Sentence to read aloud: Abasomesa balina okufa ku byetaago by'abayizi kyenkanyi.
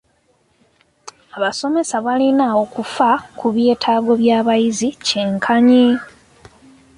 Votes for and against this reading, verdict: 2, 0, accepted